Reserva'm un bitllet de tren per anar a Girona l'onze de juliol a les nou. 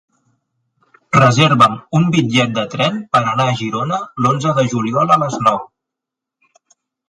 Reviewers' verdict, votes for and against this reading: accepted, 6, 0